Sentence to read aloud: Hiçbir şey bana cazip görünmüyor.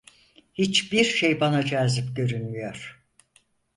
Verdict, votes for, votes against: accepted, 4, 0